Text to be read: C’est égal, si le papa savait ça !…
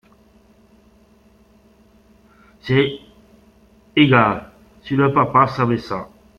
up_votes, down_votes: 0, 2